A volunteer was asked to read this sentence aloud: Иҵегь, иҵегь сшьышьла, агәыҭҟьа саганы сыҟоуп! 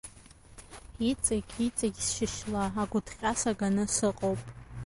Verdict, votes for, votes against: rejected, 0, 2